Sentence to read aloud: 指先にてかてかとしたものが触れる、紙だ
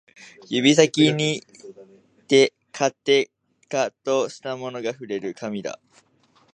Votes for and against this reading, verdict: 1, 2, rejected